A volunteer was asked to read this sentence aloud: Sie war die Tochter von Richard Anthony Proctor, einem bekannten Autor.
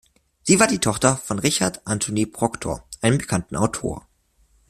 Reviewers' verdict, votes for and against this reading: accepted, 2, 0